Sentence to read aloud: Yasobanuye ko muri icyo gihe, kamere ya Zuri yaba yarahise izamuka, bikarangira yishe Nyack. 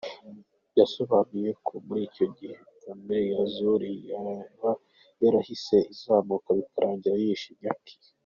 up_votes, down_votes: 2, 1